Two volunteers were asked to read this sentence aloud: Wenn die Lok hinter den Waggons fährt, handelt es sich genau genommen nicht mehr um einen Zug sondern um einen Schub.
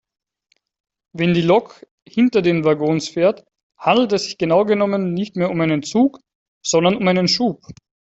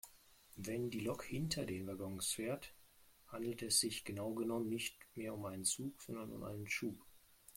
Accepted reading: first